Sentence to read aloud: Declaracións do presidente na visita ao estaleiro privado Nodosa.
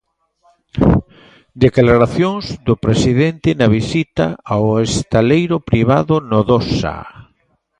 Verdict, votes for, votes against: accepted, 2, 0